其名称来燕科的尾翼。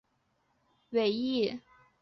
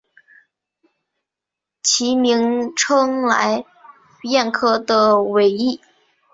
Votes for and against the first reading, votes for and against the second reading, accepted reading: 0, 3, 2, 0, second